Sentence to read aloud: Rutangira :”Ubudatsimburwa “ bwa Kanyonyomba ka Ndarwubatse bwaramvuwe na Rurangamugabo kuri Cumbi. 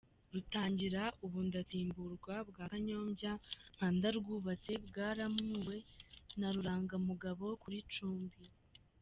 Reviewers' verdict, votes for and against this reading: rejected, 1, 2